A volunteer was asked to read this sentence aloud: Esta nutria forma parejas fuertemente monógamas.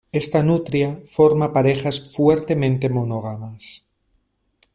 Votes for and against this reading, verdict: 2, 0, accepted